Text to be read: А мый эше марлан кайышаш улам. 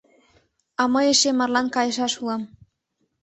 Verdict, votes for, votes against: accepted, 2, 0